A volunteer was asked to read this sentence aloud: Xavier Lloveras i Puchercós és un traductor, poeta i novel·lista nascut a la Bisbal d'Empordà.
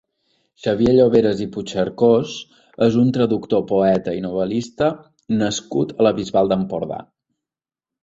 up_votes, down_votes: 2, 1